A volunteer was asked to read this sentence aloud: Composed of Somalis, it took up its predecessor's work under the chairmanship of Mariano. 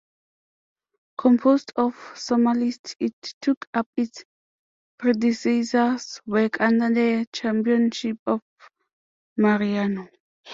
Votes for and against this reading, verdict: 2, 0, accepted